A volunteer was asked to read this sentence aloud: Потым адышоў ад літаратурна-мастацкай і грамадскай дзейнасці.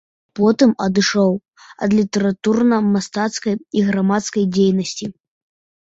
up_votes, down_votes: 2, 0